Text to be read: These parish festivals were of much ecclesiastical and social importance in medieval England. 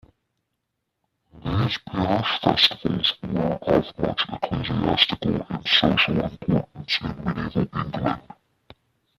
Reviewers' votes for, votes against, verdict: 0, 2, rejected